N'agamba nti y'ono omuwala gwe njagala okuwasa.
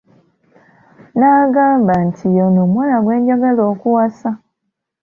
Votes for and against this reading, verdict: 2, 0, accepted